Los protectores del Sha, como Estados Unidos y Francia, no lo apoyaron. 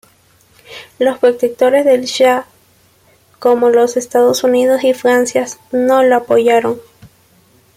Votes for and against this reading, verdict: 1, 2, rejected